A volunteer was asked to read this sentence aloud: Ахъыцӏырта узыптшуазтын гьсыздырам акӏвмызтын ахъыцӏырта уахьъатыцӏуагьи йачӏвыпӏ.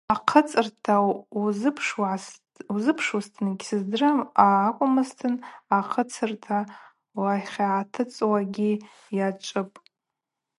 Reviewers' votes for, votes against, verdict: 0, 2, rejected